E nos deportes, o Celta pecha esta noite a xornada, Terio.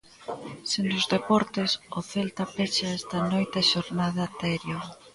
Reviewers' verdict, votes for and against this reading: rejected, 0, 2